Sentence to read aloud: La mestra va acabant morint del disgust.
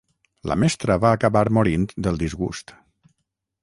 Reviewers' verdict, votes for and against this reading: rejected, 3, 3